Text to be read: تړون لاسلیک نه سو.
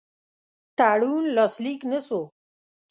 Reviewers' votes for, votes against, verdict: 2, 0, accepted